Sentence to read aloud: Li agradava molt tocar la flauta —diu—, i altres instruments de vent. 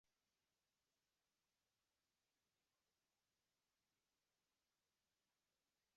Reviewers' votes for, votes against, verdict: 0, 2, rejected